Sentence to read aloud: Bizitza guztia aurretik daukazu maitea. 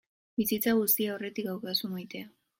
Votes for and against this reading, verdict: 2, 1, accepted